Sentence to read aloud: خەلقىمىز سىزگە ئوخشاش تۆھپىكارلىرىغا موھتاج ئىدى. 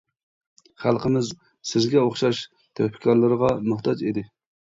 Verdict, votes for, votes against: accepted, 2, 0